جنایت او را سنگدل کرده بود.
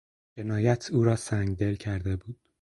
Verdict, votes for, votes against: accepted, 4, 0